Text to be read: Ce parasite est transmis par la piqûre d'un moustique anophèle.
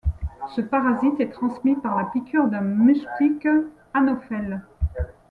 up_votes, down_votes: 1, 2